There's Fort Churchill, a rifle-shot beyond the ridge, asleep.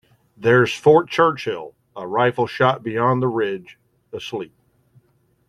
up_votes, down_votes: 2, 0